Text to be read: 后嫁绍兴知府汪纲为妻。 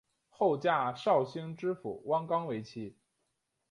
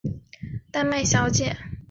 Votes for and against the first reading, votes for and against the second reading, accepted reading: 3, 0, 0, 5, first